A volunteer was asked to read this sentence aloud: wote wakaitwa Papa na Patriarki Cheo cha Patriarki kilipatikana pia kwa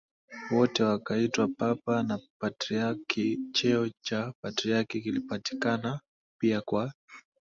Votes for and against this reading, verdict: 2, 0, accepted